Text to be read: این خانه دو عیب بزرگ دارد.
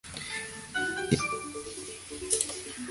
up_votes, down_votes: 0, 2